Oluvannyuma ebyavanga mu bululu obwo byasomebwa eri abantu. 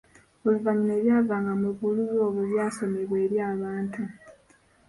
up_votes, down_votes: 2, 1